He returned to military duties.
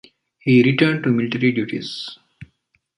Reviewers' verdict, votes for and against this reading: rejected, 1, 2